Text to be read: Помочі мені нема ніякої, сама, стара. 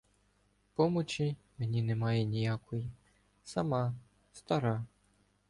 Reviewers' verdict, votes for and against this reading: rejected, 0, 2